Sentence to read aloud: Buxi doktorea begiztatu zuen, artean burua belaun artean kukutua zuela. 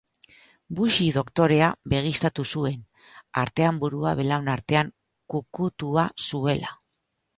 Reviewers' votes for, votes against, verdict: 2, 0, accepted